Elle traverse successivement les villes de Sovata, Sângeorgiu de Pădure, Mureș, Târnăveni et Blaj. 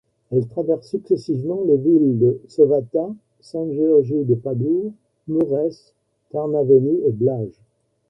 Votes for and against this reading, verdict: 2, 1, accepted